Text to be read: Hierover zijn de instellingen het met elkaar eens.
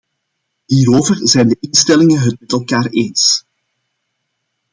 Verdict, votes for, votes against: rejected, 0, 2